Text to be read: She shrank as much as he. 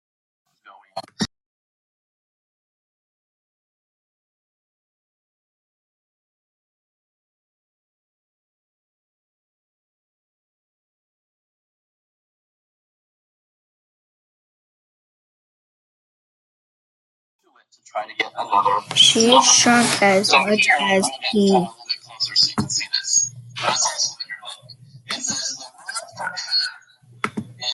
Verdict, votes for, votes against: rejected, 0, 2